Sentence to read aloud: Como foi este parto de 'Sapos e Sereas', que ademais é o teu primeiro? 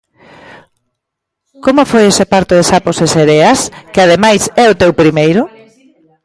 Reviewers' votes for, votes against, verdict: 2, 1, accepted